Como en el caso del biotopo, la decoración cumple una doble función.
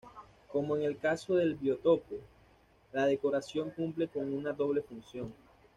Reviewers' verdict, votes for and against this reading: rejected, 1, 2